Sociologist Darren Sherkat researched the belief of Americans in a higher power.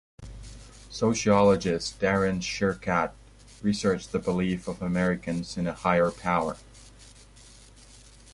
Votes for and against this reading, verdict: 2, 0, accepted